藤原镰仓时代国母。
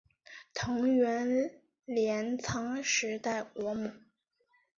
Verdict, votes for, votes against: accepted, 7, 1